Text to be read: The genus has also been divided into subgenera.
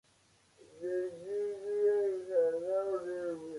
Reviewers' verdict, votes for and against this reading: rejected, 0, 2